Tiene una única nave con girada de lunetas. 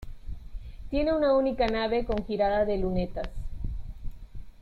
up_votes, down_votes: 2, 0